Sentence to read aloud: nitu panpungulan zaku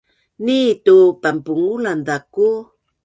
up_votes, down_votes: 3, 0